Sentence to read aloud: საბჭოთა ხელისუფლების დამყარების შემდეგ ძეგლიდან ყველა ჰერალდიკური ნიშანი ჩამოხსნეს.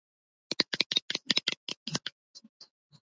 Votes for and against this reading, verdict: 0, 2, rejected